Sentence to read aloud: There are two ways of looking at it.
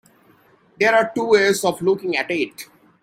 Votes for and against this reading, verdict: 2, 0, accepted